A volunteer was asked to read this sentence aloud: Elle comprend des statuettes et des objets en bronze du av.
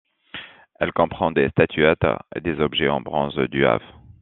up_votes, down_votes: 2, 0